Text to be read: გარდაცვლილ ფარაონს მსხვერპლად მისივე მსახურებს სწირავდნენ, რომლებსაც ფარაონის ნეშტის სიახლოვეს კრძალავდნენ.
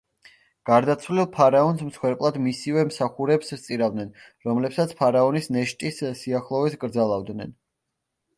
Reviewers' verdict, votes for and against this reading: accepted, 2, 0